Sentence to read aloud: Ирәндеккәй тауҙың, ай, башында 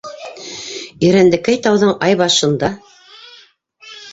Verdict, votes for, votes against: rejected, 0, 2